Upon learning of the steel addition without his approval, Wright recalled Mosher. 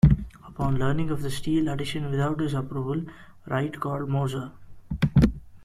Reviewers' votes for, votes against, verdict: 1, 2, rejected